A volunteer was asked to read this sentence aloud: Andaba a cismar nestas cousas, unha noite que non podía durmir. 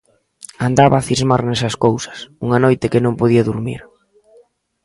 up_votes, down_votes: 1, 2